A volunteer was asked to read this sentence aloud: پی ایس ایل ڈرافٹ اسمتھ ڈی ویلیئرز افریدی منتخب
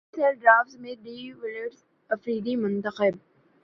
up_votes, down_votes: 0, 2